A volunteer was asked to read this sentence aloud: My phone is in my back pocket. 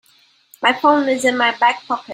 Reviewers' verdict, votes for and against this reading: accepted, 2, 1